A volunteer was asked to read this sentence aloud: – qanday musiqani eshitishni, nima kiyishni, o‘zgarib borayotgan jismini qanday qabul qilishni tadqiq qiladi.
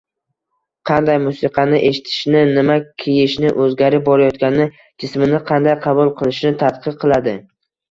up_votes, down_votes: 0, 2